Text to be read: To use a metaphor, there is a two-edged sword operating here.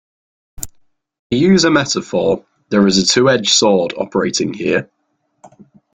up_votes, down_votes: 0, 2